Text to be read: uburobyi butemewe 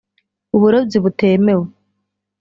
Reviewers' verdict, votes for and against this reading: accepted, 2, 0